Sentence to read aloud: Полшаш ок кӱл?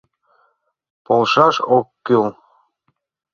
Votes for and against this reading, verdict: 2, 0, accepted